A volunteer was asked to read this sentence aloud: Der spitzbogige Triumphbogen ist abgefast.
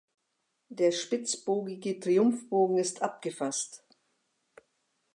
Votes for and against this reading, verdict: 2, 1, accepted